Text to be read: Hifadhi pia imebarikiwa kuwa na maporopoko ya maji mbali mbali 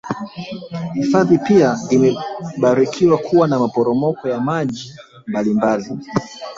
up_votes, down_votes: 2, 3